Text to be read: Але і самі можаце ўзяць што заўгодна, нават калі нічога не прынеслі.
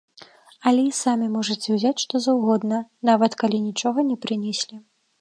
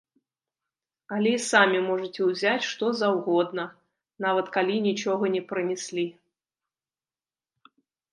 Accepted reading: first